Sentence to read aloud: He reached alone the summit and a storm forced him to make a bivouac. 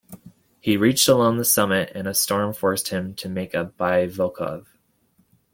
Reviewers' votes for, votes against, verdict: 0, 2, rejected